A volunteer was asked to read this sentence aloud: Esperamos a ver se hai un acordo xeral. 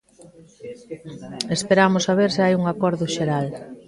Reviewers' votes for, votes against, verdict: 2, 1, accepted